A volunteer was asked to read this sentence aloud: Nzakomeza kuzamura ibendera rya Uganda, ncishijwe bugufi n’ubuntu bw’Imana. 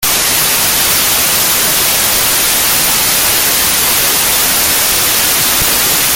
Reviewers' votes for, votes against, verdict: 0, 3, rejected